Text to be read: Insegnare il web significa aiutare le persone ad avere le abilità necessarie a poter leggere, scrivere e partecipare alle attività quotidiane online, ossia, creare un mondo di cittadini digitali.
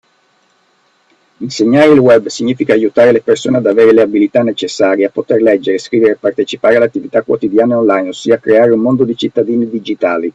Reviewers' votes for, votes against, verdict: 2, 0, accepted